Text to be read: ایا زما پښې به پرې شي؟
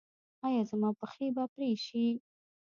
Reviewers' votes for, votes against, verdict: 0, 2, rejected